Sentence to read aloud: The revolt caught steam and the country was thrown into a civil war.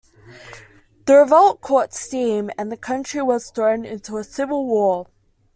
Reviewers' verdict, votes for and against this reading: accepted, 2, 0